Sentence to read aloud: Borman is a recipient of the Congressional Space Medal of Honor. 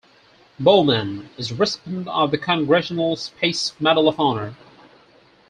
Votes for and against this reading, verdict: 4, 0, accepted